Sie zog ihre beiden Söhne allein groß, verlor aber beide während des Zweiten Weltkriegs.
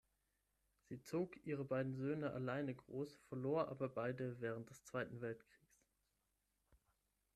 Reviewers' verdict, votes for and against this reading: rejected, 3, 6